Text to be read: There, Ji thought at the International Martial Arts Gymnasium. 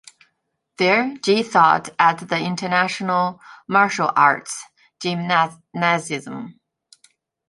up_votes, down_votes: 0, 2